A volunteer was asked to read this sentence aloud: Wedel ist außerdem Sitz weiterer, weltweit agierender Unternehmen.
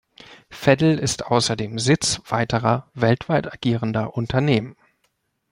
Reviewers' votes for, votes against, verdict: 0, 2, rejected